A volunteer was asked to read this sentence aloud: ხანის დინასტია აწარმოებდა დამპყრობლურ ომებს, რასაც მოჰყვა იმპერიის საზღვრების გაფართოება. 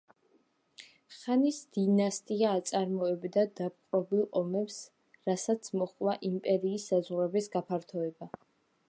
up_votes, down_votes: 2, 0